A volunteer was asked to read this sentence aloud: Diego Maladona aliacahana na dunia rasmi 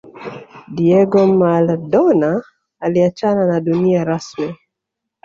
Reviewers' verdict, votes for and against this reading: rejected, 1, 3